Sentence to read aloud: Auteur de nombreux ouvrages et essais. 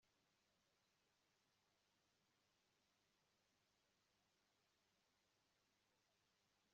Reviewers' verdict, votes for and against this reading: rejected, 0, 2